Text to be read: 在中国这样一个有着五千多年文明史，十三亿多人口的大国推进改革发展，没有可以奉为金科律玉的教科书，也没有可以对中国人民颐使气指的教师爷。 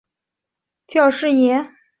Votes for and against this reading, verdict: 0, 4, rejected